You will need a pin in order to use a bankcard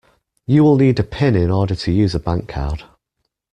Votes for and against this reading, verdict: 2, 0, accepted